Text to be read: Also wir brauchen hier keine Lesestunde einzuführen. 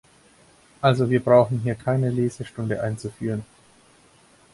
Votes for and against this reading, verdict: 4, 0, accepted